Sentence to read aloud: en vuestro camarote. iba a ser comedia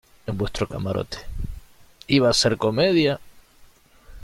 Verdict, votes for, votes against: accepted, 2, 0